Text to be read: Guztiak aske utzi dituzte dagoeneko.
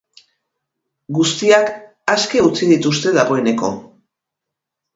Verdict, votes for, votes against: accepted, 4, 0